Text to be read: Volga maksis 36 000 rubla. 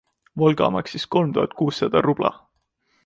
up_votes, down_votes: 0, 2